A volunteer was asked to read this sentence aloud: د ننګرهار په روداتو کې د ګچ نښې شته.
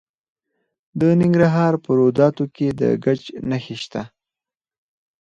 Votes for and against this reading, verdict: 2, 4, rejected